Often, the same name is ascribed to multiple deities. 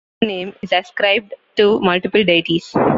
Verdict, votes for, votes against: rejected, 0, 2